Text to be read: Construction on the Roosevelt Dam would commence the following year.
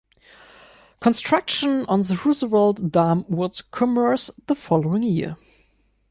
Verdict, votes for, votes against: rejected, 0, 2